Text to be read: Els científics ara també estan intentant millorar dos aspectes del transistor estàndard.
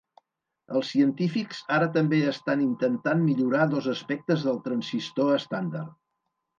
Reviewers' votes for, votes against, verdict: 3, 0, accepted